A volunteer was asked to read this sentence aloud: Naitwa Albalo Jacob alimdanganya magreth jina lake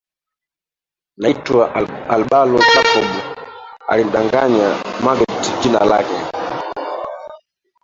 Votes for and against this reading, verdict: 0, 2, rejected